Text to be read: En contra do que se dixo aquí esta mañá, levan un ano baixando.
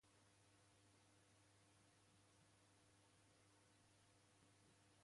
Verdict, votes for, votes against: rejected, 0, 2